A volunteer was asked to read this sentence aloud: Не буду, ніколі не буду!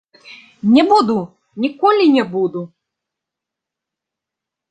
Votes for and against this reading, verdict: 2, 0, accepted